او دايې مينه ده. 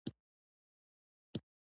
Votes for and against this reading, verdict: 1, 2, rejected